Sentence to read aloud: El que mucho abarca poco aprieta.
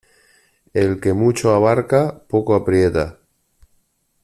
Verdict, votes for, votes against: accepted, 2, 0